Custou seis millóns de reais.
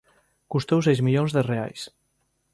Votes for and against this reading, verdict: 2, 0, accepted